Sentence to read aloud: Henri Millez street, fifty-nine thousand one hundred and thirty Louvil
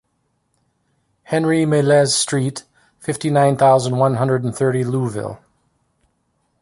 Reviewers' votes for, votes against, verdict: 2, 0, accepted